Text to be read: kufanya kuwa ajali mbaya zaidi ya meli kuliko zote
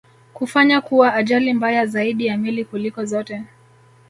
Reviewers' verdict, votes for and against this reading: accepted, 2, 0